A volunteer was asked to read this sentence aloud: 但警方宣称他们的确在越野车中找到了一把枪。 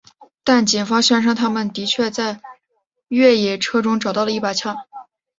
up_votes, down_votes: 2, 0